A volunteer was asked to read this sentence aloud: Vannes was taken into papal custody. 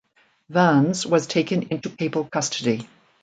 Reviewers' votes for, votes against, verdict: 2, 0, accepted